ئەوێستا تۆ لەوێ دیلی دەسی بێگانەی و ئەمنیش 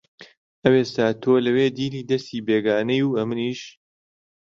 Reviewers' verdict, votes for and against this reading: accepted, 2, 0